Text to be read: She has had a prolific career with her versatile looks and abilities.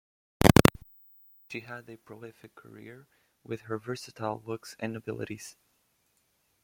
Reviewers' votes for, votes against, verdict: 1, 2, rejected